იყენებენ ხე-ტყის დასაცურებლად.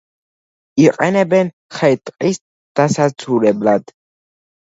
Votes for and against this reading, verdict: 1, 2, rejected